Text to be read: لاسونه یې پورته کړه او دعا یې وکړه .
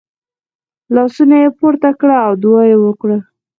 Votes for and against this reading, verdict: 4, 2, accepted